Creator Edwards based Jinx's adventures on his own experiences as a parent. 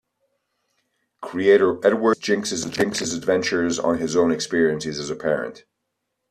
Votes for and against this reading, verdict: 0, 2, rejected